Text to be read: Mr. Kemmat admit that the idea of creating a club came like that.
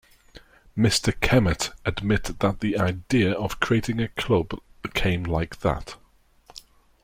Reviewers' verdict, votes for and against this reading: rejected, 0, 2